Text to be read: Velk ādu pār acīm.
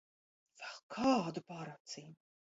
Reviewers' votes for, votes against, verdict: 1, 2, rejected